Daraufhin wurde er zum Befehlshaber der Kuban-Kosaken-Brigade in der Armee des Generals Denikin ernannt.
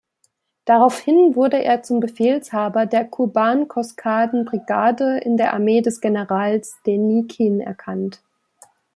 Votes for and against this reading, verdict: 0, 2, rejected